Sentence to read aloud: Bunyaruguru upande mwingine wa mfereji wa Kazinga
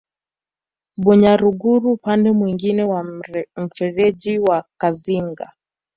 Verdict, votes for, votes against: accepted, 2, 1